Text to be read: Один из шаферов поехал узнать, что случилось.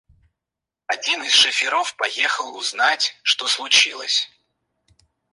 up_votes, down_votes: 2, 4